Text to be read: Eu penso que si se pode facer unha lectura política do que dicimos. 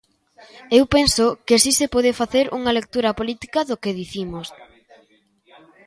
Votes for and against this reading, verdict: 0, 2, rejected